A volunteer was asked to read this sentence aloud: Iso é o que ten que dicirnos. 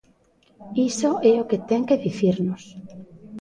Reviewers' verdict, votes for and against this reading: rejected, 0, 2